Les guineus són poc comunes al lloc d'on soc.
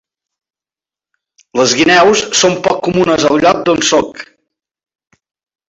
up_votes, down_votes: 3, 0